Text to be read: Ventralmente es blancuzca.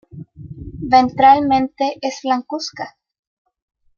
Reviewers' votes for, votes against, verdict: 2, 1, accepted